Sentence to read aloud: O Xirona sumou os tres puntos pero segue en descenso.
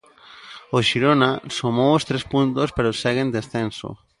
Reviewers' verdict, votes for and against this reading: accepted, 2, 0